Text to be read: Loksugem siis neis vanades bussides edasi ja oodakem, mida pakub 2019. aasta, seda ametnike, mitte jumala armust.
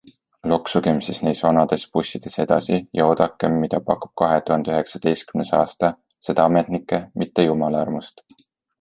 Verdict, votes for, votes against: rejected, 0, 2